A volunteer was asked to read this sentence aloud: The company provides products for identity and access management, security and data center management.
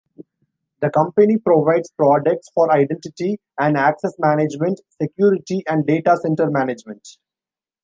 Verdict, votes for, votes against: accepted, 3, 0